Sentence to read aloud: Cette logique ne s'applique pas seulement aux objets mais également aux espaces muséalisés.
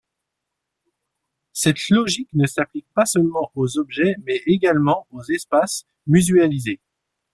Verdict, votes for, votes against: rejected, 1, 2